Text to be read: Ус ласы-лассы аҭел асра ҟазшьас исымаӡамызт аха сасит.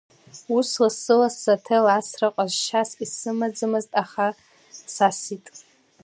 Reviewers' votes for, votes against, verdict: 2, 0, accepted